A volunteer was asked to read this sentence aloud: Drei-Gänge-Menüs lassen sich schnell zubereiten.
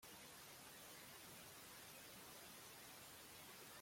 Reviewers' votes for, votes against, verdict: 0, 2, rejected